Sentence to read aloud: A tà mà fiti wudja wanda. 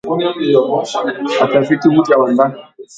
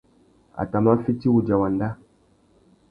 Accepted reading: second